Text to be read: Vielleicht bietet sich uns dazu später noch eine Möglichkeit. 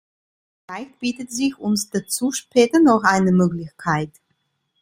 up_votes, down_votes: 1, 2